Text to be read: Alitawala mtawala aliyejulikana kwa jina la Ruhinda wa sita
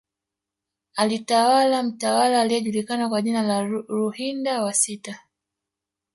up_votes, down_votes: 0, 2